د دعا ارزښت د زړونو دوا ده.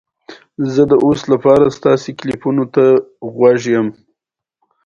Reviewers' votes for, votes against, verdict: 2, 1, accepted